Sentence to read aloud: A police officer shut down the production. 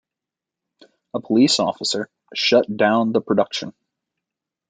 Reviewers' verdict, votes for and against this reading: accepted, 2, 0